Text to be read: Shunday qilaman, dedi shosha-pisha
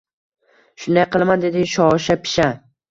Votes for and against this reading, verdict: 2, 0, accepted